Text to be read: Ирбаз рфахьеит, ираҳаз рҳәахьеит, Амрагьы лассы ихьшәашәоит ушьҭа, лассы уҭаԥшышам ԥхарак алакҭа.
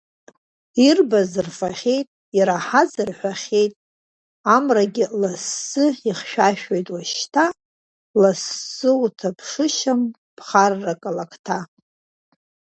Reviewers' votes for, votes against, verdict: 1, 2, rejected